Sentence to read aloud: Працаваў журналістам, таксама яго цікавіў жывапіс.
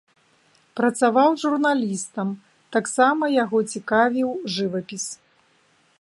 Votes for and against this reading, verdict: 2, 0, accepted